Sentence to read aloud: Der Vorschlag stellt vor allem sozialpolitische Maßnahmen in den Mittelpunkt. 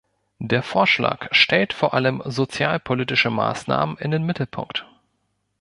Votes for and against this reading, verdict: 1, 2, rejected